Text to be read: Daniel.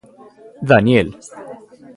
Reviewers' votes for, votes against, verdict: 1, 2, rejected